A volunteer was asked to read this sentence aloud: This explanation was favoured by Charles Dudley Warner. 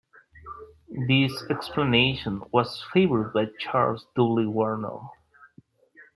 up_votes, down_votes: 0, 2